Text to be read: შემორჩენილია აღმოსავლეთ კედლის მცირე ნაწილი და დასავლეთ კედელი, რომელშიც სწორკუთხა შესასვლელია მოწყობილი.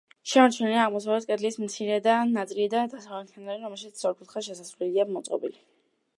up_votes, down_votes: 0, 2